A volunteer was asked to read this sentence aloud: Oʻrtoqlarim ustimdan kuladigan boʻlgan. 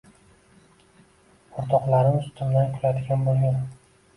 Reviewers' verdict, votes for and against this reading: rejected, 1, 2